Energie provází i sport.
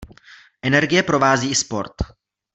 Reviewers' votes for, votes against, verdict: 1, 2, rejected